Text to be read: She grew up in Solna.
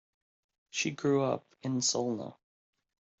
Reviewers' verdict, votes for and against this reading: accepted, 2, 1